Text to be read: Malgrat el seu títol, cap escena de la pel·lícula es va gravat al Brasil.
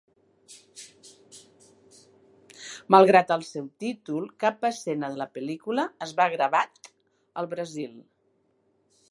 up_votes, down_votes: 2, 0